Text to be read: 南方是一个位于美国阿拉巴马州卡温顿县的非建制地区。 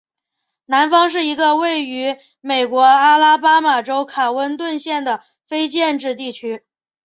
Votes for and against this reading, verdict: 5, 0, accepted